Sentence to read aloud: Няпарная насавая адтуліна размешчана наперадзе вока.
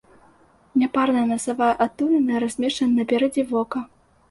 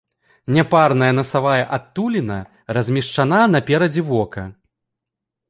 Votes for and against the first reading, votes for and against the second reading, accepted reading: 2, 0, 1, 3, first